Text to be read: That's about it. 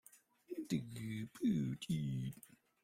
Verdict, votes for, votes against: rejected, 0, 2